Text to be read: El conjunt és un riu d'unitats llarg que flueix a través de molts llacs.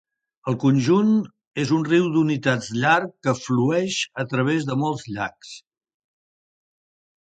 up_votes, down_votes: 3, 1